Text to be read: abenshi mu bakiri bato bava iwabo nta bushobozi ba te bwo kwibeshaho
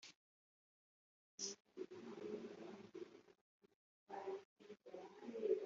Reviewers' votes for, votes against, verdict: 0, 3, rejected